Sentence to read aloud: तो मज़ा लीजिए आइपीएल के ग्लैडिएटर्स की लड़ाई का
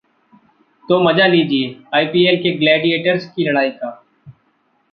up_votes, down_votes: 2, 1